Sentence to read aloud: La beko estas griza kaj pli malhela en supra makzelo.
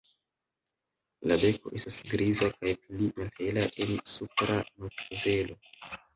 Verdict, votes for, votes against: accepted, 2, 1